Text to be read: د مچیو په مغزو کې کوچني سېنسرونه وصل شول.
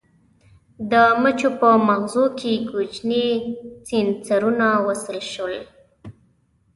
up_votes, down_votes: 2, 0